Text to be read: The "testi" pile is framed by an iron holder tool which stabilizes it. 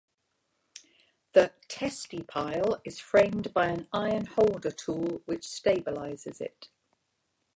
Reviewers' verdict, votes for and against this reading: accepted, 2, 0